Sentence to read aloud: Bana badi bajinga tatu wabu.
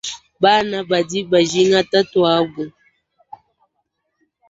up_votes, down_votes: 1, 2